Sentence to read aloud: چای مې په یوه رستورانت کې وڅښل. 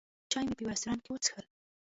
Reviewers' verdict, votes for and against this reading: rejected, 1, 2